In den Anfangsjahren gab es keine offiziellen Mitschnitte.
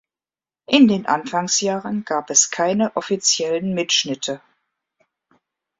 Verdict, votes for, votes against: accepted, 2, 0